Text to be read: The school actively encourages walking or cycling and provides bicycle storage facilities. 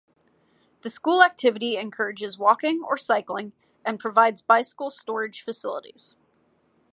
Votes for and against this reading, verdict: 0, 2, rejected